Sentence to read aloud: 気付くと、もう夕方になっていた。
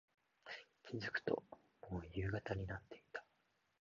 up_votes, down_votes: 1, 2